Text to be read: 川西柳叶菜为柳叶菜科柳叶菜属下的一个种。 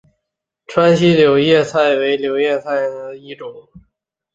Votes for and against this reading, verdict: 1, 2, rejected